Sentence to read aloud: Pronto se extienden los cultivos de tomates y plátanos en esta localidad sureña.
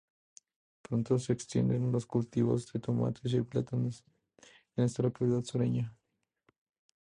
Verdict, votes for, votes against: rejected, 2, 2